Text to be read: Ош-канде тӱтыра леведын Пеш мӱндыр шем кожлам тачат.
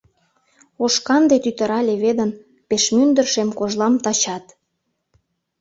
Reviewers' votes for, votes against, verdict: 2, 0, accepted